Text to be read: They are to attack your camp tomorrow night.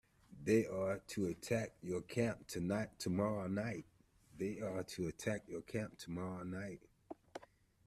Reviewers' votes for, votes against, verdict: 0, 2, rejected